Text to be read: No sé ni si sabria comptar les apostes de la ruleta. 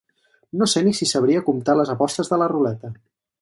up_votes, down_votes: 4, 0